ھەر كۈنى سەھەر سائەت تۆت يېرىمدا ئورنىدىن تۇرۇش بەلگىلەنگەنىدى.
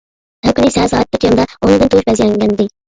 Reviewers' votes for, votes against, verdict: 0, 2, rejected